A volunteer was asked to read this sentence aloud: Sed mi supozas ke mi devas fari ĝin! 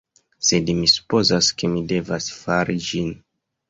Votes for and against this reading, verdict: 0, 2, rejected